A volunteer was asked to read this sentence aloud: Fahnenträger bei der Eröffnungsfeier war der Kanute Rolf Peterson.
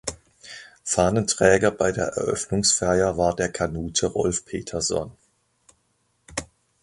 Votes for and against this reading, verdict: 2, 0, accepted